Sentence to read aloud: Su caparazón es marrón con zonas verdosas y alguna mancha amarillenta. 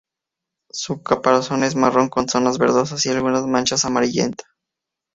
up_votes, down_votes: 0, 2